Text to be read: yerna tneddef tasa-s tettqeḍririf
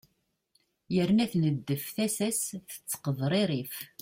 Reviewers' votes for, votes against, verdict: 2, 0, accepted